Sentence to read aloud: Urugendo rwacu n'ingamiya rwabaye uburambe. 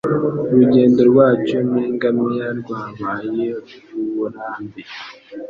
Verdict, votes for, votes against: accepted, 2, 0